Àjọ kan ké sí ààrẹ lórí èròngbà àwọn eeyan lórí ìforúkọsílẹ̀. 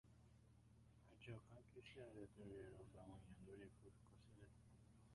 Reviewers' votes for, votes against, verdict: 0, 2, rejected